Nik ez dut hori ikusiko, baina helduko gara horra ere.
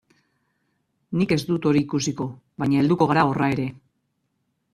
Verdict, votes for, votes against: accepted, 2, 0